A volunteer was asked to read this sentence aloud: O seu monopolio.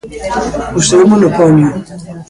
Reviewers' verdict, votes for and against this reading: accepted, 2, 1